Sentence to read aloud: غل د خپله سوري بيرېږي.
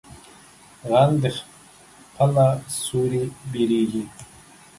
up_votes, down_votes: 0, 2